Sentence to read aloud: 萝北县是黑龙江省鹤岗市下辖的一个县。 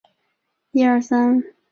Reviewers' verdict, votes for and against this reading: rejected, 0, 2